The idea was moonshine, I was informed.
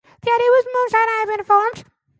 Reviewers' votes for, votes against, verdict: 1, 2, rejected